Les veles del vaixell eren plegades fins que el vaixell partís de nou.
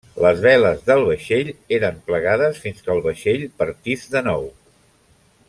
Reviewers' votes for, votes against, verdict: 3, 0, accepted